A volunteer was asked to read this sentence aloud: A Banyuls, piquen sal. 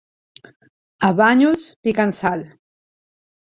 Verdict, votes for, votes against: rejected, 1, 2